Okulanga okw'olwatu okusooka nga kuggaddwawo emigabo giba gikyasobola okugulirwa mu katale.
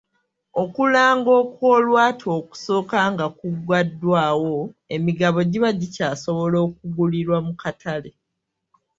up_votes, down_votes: 1, 2